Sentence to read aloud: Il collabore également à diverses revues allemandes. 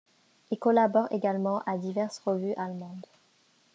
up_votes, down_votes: 2, 0